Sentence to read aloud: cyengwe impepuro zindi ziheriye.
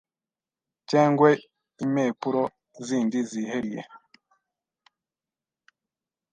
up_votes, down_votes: 1, 2